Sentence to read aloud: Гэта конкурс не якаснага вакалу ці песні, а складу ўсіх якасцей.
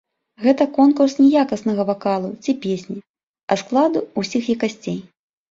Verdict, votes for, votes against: rejected, 1, 2